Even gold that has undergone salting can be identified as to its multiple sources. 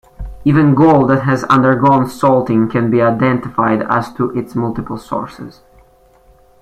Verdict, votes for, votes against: accepted, 2, 0